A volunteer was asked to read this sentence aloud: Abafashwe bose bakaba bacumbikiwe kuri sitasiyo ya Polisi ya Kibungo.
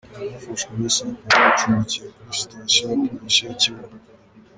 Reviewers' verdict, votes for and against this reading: rejected, 0, 2